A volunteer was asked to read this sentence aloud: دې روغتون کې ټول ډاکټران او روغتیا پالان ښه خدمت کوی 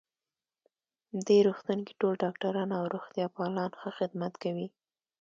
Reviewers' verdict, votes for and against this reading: accepted, 2, 0